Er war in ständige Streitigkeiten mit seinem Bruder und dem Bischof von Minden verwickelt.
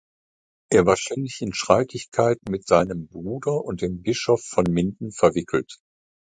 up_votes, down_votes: 1, 2